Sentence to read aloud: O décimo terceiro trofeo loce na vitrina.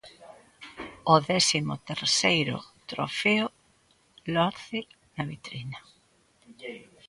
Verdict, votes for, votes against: rejected, 0, 2